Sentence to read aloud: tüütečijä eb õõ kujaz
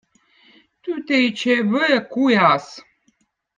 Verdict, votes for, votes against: accepted, 2, 0